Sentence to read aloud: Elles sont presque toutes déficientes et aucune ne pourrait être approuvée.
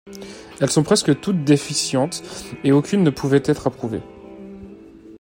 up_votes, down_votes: 1, 2